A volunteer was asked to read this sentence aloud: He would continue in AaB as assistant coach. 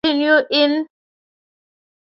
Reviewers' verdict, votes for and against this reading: rejected, 0, 3